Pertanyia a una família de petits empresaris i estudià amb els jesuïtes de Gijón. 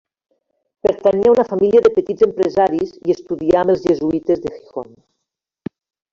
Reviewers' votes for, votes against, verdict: 2, 1, accepted